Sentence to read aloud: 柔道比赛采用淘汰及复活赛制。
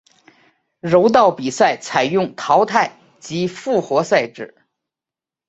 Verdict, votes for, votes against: accepted, 6, 0